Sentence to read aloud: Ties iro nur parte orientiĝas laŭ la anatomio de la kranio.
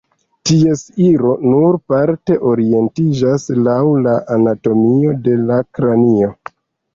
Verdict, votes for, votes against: accepted, 3, 0